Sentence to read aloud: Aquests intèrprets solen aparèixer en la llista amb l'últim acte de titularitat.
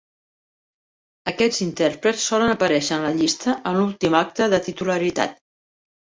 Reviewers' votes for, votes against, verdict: 2, 0, accepted